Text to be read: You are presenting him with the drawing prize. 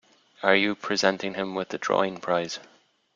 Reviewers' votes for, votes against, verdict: 0, 2, rejected